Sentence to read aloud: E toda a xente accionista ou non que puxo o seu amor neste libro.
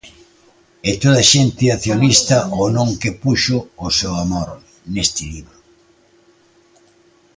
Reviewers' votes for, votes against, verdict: 1, 2, rejected